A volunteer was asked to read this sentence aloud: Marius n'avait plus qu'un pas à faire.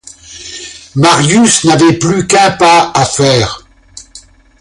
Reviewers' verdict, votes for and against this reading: accepted, 2, 0